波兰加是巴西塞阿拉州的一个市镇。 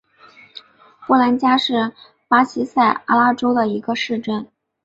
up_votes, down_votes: 4, 0